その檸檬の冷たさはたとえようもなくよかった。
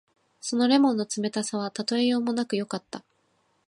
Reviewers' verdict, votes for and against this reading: accepted, 2, 0